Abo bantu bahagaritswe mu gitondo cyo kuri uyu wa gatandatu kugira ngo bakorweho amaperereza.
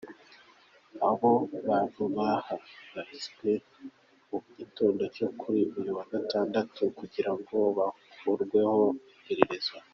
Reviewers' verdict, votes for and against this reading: accepted, 2, 1